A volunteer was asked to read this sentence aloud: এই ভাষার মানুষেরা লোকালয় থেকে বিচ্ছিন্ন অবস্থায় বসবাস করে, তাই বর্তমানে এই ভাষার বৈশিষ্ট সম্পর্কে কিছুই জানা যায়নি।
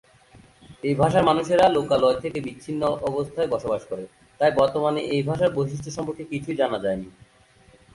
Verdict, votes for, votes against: accepted, 2, 0